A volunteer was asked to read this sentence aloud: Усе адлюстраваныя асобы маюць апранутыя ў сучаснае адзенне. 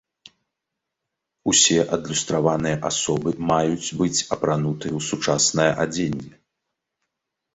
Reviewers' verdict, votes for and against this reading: rejected, 0, 2